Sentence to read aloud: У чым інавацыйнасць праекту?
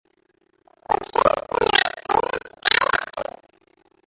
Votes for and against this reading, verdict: 0, 2, rejected